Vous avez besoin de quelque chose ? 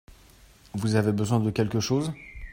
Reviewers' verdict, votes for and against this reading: accepted, 2, 0